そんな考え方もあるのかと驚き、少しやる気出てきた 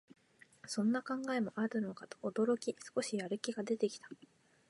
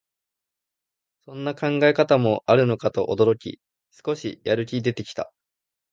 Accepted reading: second